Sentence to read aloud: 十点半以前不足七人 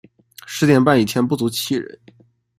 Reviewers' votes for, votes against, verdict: 2, 0, accepted